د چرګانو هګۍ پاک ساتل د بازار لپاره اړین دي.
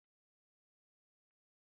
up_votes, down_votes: 2, 1